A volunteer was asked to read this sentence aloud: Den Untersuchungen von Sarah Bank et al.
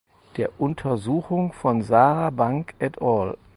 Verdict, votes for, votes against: rejected, 2, 4